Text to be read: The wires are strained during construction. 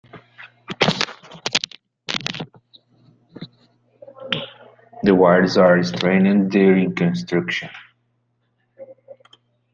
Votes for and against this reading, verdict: 0, 2, rejected